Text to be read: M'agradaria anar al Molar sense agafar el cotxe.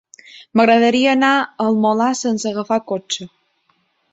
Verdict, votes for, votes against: rejected, 1, 2